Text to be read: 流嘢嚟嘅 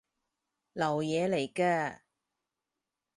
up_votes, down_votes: 4, 4